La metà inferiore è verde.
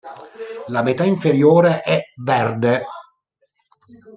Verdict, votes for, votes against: accepted, 2, 1